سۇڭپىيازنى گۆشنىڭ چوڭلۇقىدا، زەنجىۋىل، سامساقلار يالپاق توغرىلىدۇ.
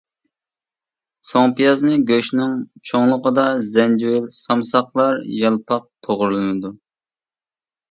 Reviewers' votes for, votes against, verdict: 1, 2, rejected